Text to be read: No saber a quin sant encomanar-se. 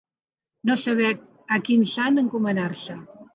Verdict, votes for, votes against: accepted, 2, 0